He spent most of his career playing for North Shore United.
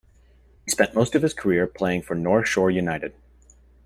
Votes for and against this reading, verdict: 1, 2, rejected